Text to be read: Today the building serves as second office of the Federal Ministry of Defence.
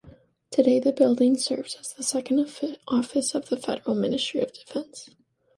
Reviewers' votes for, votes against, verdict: 2, 0, accepted